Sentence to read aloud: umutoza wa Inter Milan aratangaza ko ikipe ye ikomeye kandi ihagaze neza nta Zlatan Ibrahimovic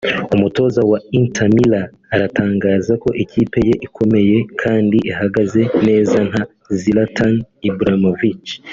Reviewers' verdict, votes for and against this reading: accepted, 2, 0